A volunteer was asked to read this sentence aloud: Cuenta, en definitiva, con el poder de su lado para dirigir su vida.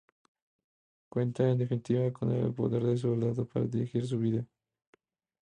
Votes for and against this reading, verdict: 2, 0, accepted